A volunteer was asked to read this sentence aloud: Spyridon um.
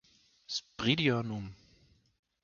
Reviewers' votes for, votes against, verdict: 1, 2, rejected